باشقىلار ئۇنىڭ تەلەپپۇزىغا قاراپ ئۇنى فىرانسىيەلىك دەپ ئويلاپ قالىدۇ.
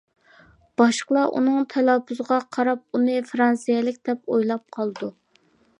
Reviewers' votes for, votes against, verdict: 2, 0, accepted